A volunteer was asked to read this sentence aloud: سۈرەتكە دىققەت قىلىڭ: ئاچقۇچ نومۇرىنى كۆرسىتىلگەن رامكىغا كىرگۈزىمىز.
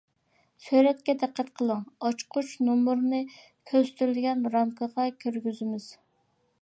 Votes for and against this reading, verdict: 2, 0, accepted